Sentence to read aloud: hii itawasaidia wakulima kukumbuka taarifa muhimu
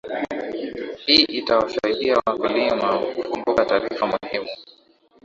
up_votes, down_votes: 4, 3